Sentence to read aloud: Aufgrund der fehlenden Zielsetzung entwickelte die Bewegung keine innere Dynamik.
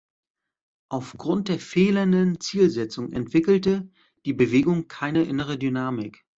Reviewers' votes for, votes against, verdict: 2, 0, accepted